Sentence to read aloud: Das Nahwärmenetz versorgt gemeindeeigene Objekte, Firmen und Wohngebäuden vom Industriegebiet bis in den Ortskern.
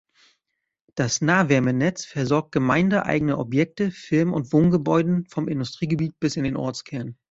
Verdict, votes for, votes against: accepted, 2, 0